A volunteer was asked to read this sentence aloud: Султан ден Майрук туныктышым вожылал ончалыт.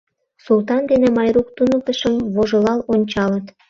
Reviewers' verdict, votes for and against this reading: rejected, 1, 2